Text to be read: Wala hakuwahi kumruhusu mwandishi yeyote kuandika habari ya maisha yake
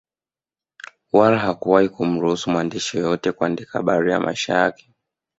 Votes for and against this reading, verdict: 0, 2, rejected